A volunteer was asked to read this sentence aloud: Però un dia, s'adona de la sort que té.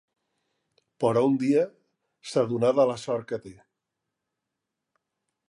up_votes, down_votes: 0, 2